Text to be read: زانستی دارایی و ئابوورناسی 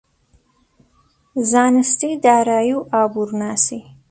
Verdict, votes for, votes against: accepted, 2, 0